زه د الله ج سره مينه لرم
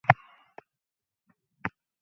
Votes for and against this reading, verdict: 0, 2, rejected